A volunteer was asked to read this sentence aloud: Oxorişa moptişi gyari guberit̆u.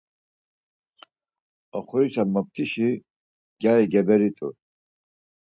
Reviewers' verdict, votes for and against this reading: rejected, 2, 4